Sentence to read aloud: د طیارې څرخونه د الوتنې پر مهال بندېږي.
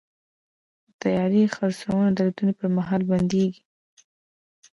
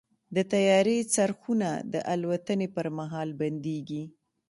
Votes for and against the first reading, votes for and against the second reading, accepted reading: 1, 2, 2, 0, second